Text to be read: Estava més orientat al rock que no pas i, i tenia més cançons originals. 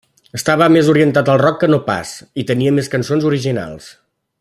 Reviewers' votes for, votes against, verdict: 1, 2, rejected